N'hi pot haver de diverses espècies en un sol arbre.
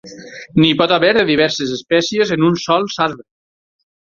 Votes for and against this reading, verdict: 0, 4, rejected